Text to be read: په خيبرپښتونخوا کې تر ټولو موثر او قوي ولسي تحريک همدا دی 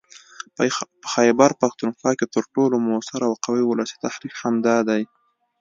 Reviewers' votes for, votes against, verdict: 3, 0, accepted